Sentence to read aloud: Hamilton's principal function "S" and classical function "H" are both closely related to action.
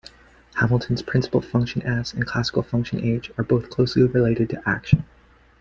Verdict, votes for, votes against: accepted, 2, 0